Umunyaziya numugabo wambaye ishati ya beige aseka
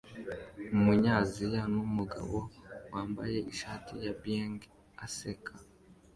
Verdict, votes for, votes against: accepted, 2, 0